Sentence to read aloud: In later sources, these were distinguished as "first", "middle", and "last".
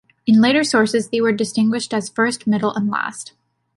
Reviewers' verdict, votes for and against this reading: accepted, 2, 1